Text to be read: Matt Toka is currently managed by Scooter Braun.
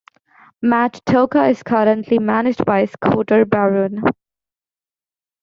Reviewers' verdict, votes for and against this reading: rejected, 0, 2